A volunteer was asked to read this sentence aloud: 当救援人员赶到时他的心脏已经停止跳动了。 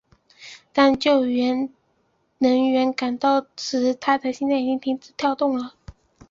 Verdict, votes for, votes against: accepted, 2, 0